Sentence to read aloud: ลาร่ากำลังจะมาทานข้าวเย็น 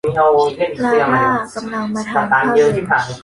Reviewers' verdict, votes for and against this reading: rejected, 0, 2